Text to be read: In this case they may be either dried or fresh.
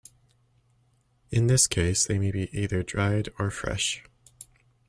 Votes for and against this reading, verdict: 2, 0, accepted